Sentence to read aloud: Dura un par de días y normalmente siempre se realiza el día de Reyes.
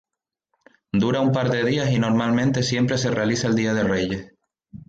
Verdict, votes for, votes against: accepted, 2, 0